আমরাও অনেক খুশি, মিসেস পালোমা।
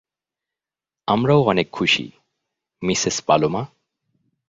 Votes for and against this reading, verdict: 2, 0, accepted